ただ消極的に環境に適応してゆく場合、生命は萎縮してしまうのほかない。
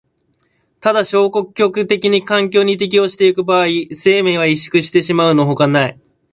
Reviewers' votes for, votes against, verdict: 1, 2, rejected